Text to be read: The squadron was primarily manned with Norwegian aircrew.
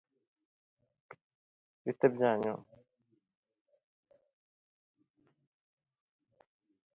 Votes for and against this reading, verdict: 0, 2, rejected